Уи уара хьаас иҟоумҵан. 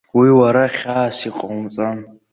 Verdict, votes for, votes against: accepted, 2, 0